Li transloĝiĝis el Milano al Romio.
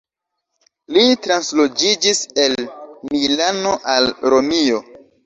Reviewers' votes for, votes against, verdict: 2, 0, accepted